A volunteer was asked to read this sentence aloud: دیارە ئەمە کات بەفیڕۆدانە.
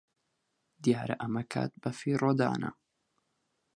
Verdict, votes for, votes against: accepted, 4, 0